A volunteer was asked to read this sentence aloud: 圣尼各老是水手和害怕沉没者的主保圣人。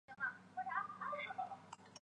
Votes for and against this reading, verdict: 0, 2, rejected